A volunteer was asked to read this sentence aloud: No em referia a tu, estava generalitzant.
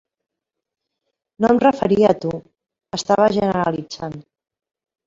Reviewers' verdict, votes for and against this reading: accepted, 3, 1